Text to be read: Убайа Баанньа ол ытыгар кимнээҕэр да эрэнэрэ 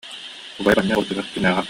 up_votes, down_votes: 0, 2